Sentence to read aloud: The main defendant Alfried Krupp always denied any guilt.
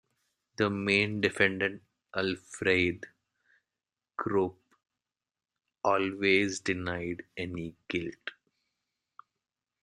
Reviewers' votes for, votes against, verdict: 2, 1, accepted